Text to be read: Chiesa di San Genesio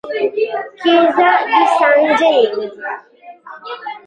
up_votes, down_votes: 0, 2